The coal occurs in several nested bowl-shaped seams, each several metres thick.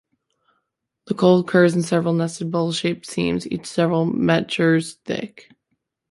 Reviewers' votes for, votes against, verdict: 1, 3, rejected